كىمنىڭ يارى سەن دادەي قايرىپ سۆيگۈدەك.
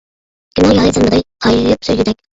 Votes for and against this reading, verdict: 0, 2, rejected